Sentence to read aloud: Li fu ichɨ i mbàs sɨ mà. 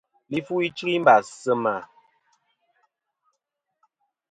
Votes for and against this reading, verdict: 2, 1, accepted